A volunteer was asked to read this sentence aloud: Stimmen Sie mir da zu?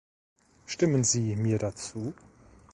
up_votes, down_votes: 2, 0